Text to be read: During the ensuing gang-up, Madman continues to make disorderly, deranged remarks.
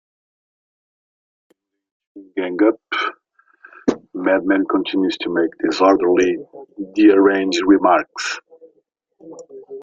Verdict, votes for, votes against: rejected, 0, 2